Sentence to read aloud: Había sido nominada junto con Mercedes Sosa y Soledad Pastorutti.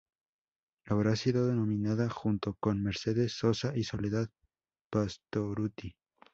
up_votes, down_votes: 0, 2